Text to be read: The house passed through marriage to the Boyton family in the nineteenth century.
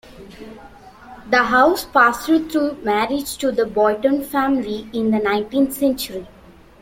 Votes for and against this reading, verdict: 2, 1, accepted